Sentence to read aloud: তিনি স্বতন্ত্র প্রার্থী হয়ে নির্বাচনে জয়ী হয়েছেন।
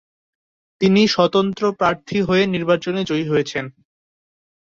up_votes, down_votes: 3, 0